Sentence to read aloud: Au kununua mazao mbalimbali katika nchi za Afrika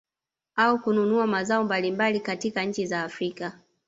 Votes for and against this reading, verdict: 0, 2, rejected